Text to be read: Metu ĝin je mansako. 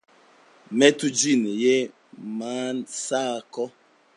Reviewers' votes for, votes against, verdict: 2, 0, accepted